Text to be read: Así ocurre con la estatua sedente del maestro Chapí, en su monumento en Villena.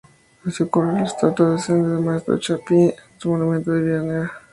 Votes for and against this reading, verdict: 0, 2, rejected